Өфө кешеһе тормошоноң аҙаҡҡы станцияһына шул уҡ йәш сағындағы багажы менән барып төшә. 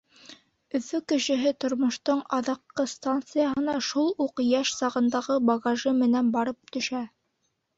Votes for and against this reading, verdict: 0, 2, rejected